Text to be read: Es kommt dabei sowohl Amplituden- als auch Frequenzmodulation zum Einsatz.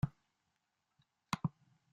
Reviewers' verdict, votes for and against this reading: rejected, 0, 2